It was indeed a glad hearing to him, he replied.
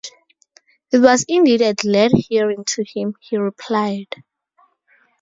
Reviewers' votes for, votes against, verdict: 2, 2, rejected